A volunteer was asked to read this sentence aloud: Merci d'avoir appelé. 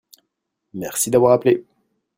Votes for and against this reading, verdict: 2, 0, accepted